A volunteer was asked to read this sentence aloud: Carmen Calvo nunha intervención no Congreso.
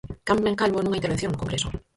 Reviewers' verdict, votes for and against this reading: rejected, 0, 4